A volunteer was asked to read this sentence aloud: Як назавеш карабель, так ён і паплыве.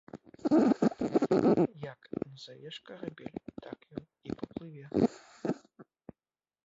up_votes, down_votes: 1, 3